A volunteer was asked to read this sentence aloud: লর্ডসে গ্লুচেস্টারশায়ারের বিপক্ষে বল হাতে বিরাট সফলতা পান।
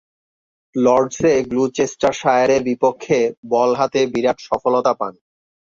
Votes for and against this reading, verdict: 2, 0, accepted